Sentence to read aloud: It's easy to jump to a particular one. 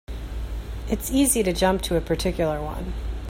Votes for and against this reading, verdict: 2, 0, accepted